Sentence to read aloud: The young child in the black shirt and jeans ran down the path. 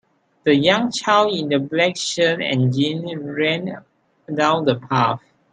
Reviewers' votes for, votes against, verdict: 3, 2, accepted